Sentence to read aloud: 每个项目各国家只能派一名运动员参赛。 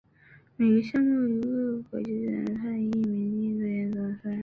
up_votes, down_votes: 0, 2